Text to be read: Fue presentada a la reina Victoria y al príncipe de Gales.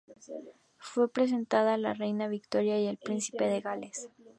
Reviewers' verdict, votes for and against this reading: accepted, 2, 0